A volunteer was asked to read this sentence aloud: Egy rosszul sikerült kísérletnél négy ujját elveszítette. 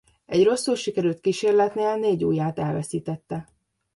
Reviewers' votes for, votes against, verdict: 2, 0, accepted